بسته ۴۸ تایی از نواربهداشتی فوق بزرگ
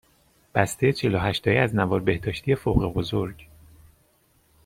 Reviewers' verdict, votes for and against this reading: rejected, 0, 2